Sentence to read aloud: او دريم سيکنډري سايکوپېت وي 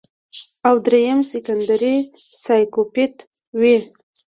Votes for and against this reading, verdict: 0, 2, rejected